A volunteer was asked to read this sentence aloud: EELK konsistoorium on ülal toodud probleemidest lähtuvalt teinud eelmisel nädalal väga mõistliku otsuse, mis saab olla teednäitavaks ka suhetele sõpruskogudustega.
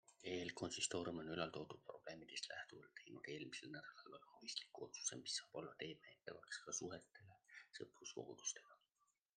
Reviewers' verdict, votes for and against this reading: rejected, 1, 2